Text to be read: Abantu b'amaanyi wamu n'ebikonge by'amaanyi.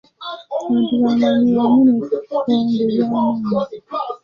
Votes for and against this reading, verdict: 0, 2, rejected